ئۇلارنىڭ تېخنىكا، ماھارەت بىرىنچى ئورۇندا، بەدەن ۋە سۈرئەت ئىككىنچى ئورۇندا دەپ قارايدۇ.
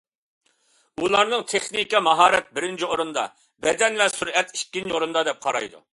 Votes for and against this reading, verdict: 2, 0, accepted